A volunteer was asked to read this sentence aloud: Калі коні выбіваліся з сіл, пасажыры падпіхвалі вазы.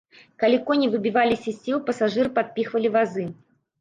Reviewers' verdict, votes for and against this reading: rejected, 1, 2